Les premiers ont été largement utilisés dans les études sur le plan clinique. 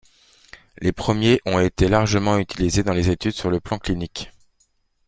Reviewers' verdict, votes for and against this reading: rejected, 0, 2